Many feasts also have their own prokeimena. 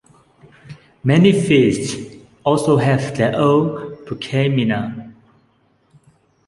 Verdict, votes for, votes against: accepted, 2, 0